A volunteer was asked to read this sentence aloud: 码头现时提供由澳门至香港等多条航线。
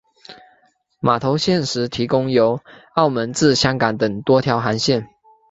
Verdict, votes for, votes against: accepted, 3, 0